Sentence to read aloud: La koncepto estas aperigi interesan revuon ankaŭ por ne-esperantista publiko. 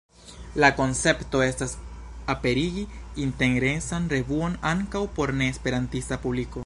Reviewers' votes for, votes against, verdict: 1, 2, rejected